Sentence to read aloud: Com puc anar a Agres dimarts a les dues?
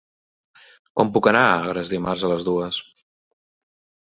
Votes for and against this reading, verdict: 3, 0, accepted